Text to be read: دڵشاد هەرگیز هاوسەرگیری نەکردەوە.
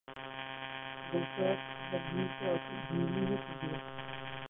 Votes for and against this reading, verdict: 0, 2, rejected